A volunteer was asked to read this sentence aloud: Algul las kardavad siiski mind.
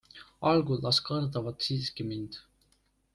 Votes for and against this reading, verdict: 2, 0, accepted